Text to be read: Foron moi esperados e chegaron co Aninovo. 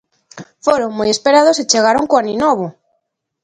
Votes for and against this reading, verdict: 2, 0, accepted